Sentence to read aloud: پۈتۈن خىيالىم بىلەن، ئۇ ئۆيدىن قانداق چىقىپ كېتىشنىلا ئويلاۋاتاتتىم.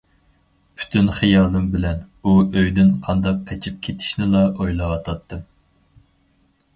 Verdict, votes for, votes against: rejected, 0, 4